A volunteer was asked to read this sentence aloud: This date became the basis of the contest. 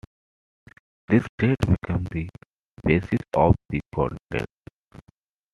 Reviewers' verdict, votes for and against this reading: rejected, 0, 2